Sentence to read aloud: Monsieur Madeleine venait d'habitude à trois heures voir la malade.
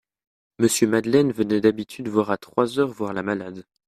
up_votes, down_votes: 1, 2